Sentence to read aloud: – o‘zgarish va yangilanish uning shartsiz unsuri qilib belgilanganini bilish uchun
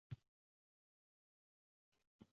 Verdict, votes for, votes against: rejected, 0, 2